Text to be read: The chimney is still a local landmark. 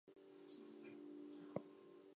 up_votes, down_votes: 0, 4